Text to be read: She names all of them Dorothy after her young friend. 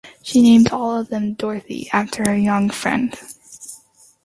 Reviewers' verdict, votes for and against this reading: accepted, 2, 0